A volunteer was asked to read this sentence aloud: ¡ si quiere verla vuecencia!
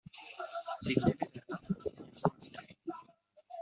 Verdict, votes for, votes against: rejected, 1, 2